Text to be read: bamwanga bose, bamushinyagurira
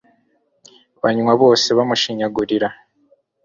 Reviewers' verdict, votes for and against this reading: rejected, 1, 2